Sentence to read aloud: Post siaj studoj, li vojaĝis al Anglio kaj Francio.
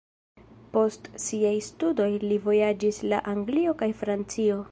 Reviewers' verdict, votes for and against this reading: rejected, 1, 2